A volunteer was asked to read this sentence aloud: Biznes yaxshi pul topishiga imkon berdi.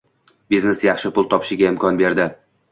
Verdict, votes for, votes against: accepted, 2, 0